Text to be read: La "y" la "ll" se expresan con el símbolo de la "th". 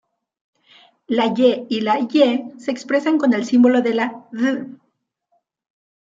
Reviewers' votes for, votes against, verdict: 0, 2, rejected